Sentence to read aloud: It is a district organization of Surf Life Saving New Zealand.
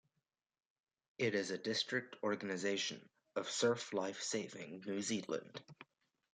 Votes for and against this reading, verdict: 2, 0, accepted